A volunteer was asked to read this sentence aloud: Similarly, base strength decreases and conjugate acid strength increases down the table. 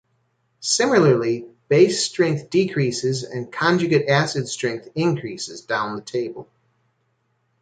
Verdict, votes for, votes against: accepted, 2, 1